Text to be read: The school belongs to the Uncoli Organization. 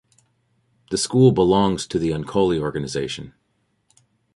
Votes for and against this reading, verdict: 2, 0, accepted